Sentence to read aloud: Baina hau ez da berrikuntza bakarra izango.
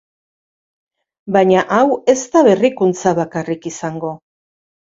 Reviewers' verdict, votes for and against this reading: rejected, 0, 2